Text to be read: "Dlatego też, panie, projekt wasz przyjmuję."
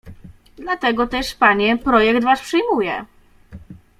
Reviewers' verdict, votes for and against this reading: accepted, 2, 0